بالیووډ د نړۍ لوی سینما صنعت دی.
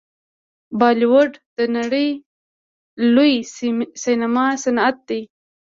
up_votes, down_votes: 3, 4